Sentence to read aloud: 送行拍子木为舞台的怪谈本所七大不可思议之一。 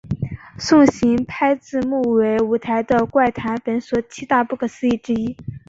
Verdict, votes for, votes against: rejected, 1, 2